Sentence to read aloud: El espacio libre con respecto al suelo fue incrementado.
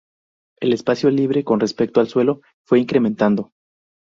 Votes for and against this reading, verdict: 0, 2, rejected